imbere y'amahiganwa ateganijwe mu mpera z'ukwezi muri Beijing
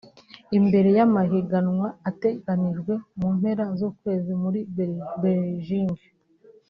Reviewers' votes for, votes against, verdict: 0, 2, rejected